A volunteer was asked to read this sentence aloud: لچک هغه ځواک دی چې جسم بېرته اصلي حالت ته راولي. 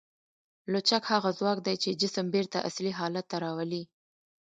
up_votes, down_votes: 2, 1